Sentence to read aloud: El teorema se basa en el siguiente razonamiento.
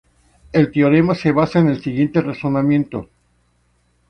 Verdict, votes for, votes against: accepted, 2, 0